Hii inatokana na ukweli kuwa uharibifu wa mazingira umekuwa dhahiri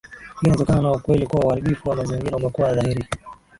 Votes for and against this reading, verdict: 0, 2, rejected